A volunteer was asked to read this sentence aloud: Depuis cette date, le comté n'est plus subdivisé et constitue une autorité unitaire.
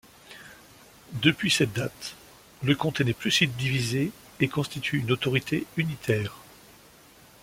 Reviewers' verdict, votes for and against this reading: accepted, 2, 0